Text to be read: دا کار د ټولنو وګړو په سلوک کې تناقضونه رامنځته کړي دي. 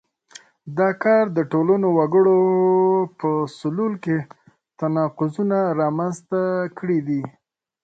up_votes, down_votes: 0, 3